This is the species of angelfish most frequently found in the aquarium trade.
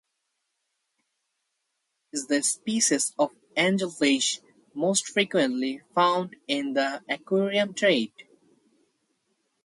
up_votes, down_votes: 2, 2